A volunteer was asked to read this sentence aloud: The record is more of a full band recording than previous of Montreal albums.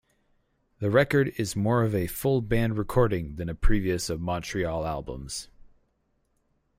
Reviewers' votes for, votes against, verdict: 0, 4, rejected